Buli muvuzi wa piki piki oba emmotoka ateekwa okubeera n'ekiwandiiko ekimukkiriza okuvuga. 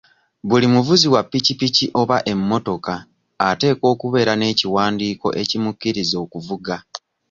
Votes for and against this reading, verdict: 2, 0, accepted